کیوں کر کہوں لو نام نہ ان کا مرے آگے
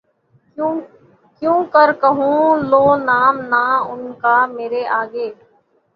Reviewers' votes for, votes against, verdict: 0, 6, rejected